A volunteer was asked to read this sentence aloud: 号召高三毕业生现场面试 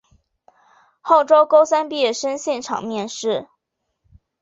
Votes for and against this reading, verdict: 3, 1, accepted